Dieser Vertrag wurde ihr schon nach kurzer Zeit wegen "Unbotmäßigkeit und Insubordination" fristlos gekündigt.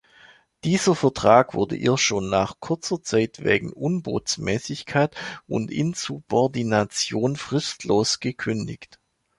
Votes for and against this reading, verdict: 1, 2, rejected